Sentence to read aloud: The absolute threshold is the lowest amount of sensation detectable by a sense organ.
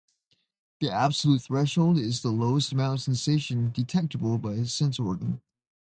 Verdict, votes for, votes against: accepted, 2, 0